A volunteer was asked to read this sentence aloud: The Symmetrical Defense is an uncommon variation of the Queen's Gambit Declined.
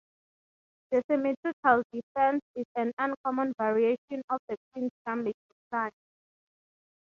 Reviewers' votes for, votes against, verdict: 6, 0, accepted